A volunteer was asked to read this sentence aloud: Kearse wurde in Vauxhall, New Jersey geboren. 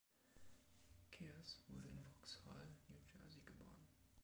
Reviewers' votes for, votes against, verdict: 1, 2, rejected